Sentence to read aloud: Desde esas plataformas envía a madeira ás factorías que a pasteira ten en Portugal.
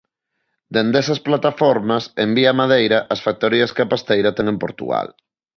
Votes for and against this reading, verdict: 0, 2, rejected